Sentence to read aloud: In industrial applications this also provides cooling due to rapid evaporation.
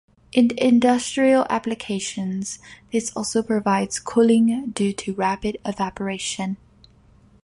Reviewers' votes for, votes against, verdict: 2, 0, accepted